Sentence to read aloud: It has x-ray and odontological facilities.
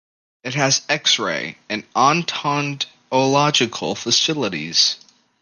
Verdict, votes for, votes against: rejected, 0, 2